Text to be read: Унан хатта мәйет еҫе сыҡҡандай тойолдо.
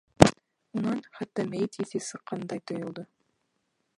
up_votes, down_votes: 0, 2